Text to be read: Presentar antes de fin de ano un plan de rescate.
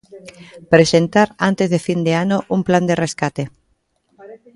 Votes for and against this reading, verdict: 1, 2, rejected